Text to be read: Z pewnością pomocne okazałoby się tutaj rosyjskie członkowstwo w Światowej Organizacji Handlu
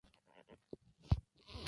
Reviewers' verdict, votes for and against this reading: rejected, 0, 2